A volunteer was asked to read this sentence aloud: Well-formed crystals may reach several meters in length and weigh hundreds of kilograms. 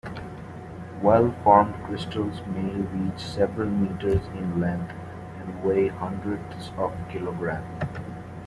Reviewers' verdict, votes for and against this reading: accepted, 2, 0